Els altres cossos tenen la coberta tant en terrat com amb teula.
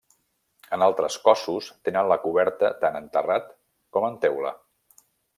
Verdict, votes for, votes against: rejected, 1, 2